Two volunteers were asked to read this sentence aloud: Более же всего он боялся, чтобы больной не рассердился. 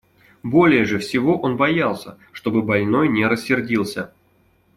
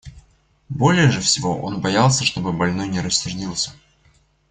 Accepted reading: first